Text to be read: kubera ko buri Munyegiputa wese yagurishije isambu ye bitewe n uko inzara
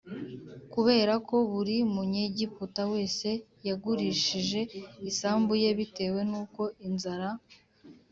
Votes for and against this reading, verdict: 2, 0, accepted